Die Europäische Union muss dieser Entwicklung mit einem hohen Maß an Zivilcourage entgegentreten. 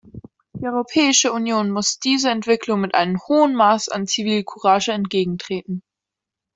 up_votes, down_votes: 2, 0